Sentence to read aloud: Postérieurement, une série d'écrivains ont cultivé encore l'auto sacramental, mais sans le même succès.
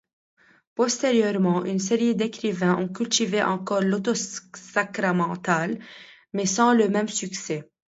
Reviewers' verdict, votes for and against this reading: rejected, 0, 2